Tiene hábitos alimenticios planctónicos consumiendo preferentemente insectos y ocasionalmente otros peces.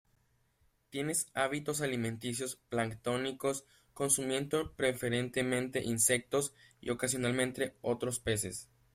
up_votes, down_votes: 1, 2